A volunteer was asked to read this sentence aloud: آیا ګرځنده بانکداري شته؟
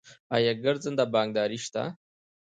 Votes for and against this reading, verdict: 2, 0, accepted